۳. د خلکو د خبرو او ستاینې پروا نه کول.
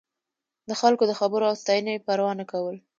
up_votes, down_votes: 0, 2